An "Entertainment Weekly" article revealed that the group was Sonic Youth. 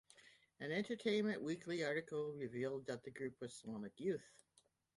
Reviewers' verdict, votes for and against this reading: accepted, 2, 0